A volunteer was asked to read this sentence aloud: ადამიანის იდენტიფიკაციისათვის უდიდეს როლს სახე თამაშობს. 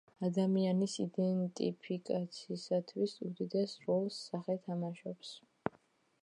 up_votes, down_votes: 1, 2